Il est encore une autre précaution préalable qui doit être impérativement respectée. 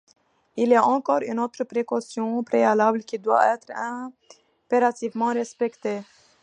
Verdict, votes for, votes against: accepted, 2, 1